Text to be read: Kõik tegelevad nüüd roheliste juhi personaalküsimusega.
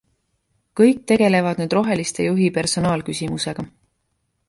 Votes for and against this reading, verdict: 2, 0, accepted